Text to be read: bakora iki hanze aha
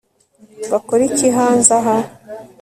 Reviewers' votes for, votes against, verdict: 2, 0, accepted